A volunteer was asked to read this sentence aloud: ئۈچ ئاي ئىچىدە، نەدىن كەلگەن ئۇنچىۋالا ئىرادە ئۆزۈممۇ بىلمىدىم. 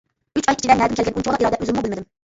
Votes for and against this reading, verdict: 0, 2, rejected